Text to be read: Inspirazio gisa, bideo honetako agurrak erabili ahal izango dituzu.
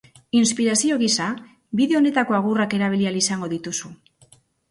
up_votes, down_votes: 0, 2